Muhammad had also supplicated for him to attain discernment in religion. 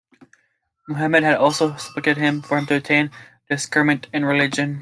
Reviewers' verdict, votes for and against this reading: rejected, 1, 2